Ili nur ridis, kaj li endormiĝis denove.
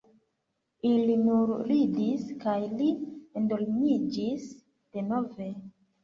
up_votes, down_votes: 2, 1